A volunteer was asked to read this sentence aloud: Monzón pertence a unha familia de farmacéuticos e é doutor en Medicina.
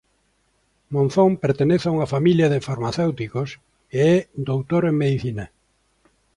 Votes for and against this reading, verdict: 0, 2, rejected